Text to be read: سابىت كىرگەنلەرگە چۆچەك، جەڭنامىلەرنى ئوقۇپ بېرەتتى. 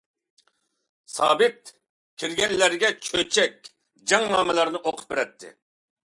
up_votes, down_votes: 2, 0